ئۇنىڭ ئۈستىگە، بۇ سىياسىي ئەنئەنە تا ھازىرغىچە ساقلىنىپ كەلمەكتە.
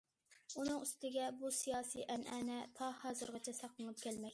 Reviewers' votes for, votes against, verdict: 0, 2, rejected